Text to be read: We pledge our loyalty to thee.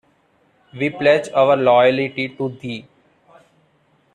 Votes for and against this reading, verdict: 1, 2, rejected